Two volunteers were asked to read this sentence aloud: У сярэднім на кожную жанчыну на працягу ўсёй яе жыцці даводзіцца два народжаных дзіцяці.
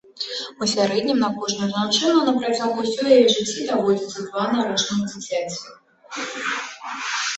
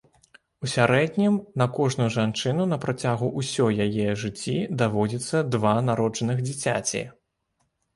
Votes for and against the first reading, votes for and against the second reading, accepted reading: 1, 2, 2, 0, second